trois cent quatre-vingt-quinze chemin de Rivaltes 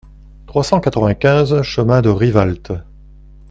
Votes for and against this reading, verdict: 2, 0, accepted